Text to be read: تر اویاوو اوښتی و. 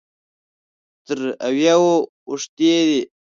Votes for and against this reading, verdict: 1, 2, rejected